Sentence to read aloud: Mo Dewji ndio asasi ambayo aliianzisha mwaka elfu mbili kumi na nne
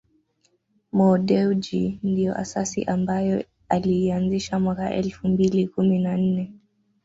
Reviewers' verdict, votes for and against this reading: accepted, 2, 0